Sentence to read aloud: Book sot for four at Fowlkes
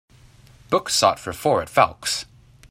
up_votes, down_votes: 2, 0